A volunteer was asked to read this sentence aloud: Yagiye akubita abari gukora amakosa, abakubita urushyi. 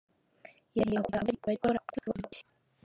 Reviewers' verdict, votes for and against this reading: rejected, 0, 3